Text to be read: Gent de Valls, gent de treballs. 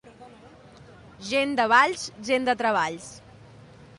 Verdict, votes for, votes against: accepted, 2, 0